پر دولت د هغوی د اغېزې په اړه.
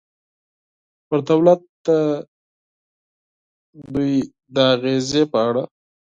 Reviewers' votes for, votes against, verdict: 0, 6, rejected